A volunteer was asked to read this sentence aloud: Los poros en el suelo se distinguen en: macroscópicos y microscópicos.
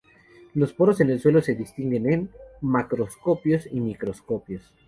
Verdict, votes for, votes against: rejected, 2, 2